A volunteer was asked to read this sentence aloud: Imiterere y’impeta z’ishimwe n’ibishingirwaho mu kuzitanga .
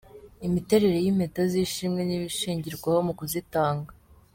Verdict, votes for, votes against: accepted, 3, 0